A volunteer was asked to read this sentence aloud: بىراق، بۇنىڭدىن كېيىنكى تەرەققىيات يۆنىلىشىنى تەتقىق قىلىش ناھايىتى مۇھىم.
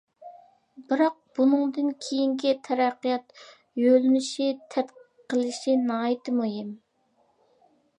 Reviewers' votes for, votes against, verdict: 0, 2, rejected